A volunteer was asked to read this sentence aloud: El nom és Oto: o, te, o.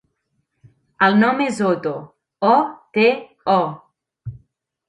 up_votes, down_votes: 2, 0